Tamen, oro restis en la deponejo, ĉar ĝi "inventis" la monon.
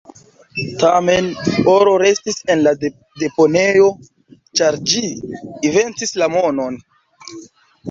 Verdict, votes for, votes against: rejected, 0, 2